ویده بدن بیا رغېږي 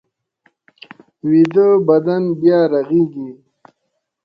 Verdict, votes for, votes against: accepted, 2, 0